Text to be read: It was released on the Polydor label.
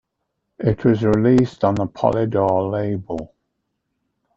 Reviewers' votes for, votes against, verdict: 2, 0, accepted